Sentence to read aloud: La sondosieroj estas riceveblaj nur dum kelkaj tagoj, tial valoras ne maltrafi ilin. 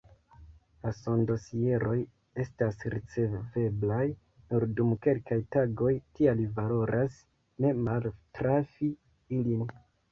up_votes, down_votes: 2, 1